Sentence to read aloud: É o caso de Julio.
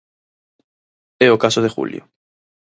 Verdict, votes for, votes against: accepted, 4, 0